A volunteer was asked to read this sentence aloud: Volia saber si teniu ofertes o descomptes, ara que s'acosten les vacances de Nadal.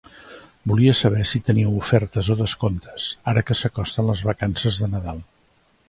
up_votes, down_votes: 2, 0